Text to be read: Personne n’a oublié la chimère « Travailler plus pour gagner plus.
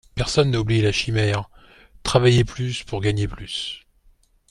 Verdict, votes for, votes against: accepted, 2, 0